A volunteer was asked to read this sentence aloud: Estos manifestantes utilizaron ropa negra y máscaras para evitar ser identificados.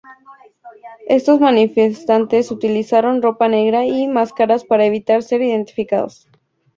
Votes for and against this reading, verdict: 4, 0, accepted